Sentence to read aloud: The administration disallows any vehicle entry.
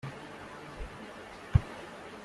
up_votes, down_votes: 0, 2